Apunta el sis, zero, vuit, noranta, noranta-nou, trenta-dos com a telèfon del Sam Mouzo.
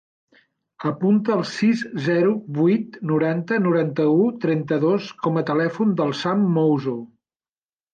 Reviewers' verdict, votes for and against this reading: rejected, 1, 2